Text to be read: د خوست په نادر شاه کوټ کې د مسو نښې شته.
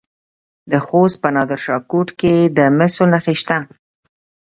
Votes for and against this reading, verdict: 1, 2, rejected